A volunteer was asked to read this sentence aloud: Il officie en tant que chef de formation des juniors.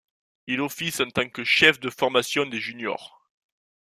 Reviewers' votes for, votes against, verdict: 1, 2, rejected